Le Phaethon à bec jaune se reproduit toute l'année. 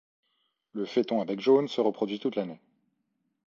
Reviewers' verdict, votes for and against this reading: accepted, 2, 0